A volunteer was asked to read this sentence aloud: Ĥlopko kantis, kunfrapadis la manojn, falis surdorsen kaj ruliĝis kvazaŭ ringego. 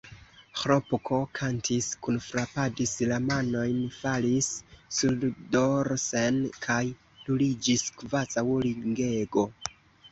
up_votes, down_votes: 2, 0